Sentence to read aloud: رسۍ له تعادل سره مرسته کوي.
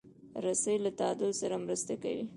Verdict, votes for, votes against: rejected, 1, 2